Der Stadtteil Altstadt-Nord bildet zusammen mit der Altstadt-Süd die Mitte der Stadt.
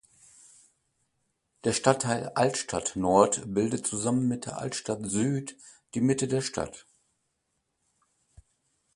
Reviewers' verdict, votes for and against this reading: accepted, 2, 0